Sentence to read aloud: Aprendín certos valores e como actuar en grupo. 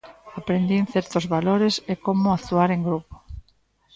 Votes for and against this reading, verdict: 1, 2, rejected